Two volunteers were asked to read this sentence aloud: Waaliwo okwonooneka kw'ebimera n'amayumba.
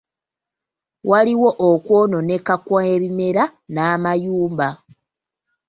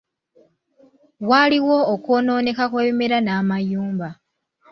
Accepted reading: first